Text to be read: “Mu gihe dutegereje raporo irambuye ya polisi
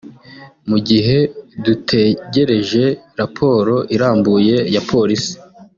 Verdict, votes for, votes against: accepted, 2, 0